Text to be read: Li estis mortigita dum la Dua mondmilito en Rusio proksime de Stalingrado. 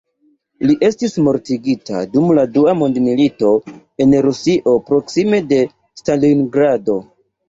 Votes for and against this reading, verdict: 3, 0, accepted